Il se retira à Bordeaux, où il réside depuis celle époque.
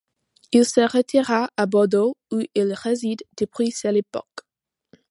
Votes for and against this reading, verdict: 2, 0, accepted